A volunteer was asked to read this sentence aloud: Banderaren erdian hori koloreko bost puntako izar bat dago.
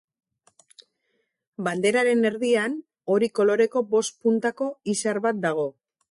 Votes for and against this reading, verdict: 2, 0, accepted